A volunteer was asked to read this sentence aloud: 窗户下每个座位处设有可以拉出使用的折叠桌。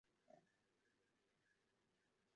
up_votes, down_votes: 0, 3